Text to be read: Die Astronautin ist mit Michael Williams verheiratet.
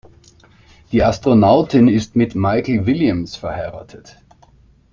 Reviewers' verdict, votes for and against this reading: rejected, 0, 2